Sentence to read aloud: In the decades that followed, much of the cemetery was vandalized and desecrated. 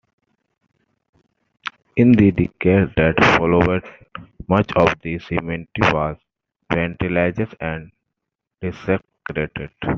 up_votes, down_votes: 1, 2